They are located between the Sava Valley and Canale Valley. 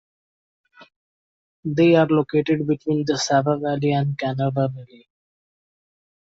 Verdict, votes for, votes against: accepted, 2, 1